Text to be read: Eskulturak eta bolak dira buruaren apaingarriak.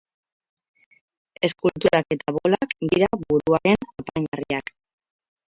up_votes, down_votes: 2, 4